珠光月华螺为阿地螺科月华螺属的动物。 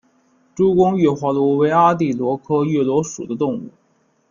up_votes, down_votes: 2, 1